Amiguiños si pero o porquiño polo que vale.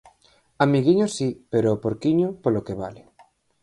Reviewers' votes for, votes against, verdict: 4, 0, accepted